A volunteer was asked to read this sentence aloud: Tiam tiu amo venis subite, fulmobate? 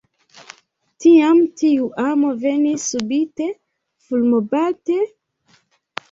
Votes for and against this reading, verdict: 0, 2, rejected